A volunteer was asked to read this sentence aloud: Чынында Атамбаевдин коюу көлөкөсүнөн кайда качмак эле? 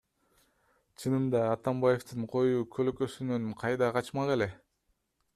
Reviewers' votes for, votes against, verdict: 2, 0, accepted